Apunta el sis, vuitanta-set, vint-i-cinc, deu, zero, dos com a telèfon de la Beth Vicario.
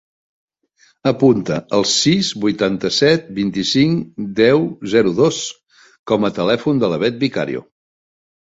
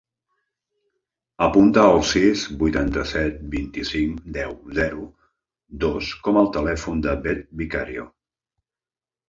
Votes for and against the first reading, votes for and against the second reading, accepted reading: 3, 0, 1, 2, first